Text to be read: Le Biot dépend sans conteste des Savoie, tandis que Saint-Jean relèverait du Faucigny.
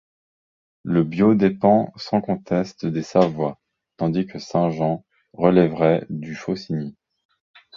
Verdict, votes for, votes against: accepted, 2, 0